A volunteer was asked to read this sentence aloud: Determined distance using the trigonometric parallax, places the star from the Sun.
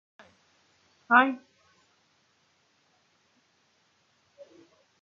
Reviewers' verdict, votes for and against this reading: rejected, 0, 2